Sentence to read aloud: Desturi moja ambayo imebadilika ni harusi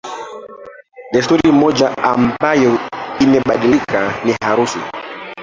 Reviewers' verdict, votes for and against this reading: rejected, 0, 2